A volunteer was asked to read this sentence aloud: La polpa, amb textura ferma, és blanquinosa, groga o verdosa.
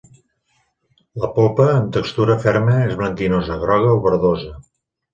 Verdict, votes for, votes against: accepted, 2, 0